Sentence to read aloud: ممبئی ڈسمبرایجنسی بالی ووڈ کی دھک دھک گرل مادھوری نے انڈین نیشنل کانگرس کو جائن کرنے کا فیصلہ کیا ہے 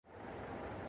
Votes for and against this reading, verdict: 0, 2, rejected